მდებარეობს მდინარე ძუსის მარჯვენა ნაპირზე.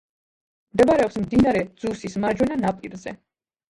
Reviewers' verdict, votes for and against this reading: accepted, 2, 1